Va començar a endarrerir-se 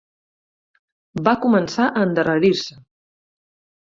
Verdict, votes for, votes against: rejected, 0, 4